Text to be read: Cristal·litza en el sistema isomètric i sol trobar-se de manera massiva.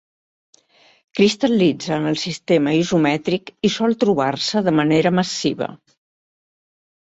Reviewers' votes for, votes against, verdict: 1, 2, rejected